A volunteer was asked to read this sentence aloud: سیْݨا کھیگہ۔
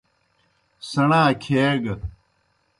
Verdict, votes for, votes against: accepted, 2, 0